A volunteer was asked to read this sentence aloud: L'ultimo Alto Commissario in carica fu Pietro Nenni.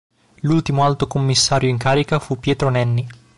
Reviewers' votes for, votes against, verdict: 2, 0, accepted